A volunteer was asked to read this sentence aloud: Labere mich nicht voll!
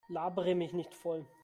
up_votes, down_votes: 2, 0